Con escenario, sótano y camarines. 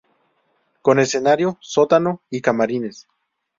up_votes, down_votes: 2, 0